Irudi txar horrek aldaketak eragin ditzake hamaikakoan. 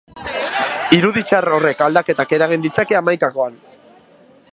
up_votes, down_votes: 2, 2